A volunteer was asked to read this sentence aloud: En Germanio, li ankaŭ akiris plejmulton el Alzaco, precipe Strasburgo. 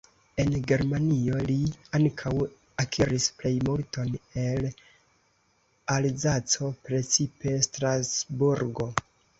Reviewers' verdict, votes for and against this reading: accepted, 2, 0